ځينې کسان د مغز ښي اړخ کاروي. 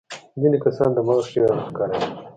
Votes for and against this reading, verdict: 0, 2, rejected